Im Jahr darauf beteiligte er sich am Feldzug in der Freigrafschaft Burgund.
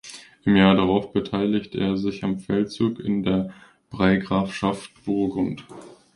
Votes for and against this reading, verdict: 0, 2, rejected